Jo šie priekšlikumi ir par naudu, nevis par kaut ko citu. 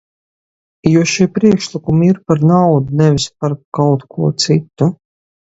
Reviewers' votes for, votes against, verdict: 2, 0, accepted